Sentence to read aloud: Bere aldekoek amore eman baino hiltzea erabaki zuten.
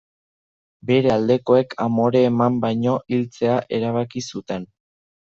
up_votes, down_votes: 2, 0